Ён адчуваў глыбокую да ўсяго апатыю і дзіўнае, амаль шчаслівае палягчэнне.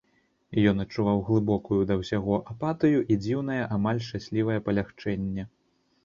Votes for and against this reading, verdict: 2, 0, accepted